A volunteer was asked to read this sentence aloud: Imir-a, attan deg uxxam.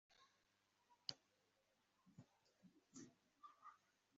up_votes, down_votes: 0, 2